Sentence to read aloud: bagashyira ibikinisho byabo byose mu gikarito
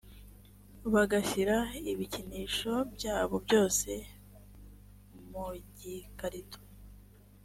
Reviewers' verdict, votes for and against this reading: accepted, 2, 0